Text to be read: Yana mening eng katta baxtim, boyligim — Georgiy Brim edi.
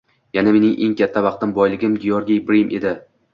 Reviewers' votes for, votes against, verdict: 2, 0, accepted